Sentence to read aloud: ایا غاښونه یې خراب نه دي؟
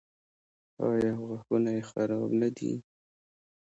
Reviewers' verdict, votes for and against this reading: accepted, 2, 1